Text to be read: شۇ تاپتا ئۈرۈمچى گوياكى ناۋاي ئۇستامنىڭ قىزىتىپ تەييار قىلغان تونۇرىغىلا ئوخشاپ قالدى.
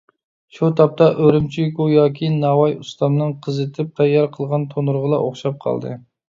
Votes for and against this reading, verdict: 2, 0, accepted